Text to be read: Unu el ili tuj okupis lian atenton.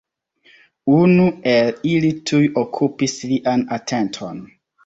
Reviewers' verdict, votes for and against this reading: rejected, 1, 2